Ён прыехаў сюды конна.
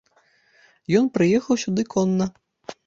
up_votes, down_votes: 2, 0